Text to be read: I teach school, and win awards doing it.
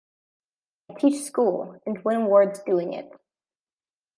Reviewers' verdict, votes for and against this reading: accepted, 2, 1